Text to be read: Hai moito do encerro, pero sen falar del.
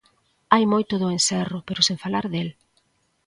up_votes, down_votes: 2, 0